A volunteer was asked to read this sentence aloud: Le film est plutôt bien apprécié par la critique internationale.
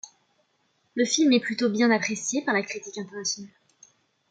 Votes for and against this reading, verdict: 2, 0, accepted